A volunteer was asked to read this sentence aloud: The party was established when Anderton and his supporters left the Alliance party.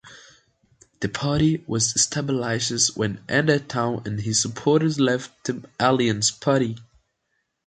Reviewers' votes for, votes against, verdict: 0, 2, rejected